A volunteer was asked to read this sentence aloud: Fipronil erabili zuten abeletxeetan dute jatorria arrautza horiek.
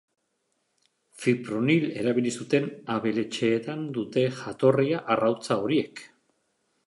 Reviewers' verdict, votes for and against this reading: accepted, 4, 0